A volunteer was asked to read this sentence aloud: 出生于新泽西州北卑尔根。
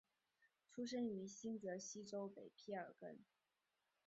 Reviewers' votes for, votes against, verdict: 2, 0, accepted